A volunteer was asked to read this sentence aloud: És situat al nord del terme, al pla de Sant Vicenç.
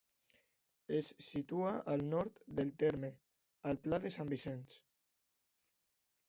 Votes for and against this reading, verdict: 1, 2, rejected